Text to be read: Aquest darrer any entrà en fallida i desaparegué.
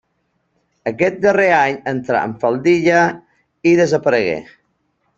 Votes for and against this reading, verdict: 1, 2, rejected